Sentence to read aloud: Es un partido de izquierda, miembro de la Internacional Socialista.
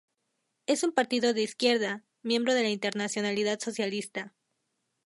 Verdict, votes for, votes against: rejected, 0, 2